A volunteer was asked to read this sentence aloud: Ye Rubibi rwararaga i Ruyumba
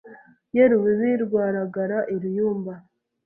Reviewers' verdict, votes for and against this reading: rejected, 1, 2